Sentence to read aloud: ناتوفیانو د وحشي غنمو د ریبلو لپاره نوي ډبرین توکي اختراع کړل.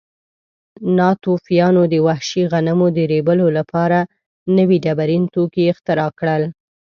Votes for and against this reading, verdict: 2, 0, accepted